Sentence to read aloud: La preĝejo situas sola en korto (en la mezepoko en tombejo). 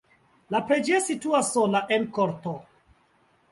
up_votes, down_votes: 1, 2